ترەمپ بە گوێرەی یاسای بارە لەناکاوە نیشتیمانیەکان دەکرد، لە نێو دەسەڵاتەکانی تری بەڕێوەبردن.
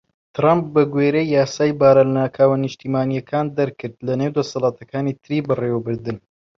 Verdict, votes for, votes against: rejected, 1, 2